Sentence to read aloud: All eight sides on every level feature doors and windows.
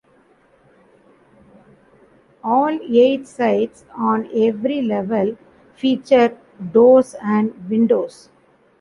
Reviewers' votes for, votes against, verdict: 2, 0, accepted